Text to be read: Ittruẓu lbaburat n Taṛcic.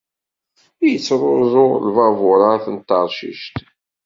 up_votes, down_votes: 2, 0